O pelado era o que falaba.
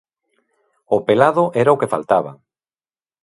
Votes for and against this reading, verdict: 1, 2, rejected